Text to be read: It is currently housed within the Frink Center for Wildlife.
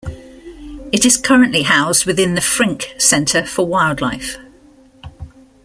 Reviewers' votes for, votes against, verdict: 2, 0, accepted